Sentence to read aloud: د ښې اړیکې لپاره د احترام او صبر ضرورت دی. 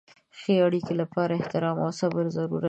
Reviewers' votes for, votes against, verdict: 1, 2, rejected